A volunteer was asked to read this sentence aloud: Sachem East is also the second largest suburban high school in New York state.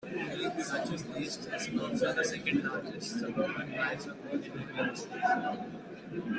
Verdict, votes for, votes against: rejected, 1, 2